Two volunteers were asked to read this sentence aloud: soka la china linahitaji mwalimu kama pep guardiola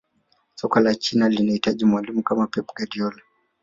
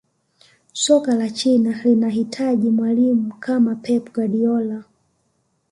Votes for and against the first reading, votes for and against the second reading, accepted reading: 0, 2, 2, 1, second